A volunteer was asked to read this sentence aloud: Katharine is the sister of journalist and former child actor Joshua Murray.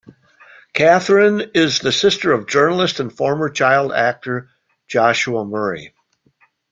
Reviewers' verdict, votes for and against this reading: accepted, 2, 0